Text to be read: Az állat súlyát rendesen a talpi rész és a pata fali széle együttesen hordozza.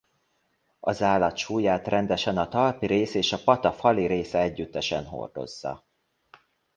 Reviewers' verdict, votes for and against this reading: rejected, 1, 2